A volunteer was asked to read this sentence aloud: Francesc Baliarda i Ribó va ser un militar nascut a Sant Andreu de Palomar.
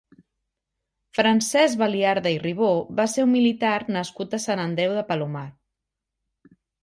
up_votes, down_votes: 2, 0